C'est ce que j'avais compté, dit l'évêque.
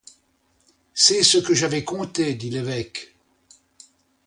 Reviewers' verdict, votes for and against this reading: accepted, 2, 0